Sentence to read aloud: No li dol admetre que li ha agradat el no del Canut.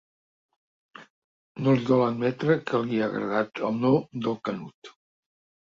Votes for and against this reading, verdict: 2, 0, accepted